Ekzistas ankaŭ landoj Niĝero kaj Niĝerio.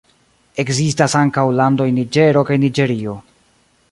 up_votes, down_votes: 2, 0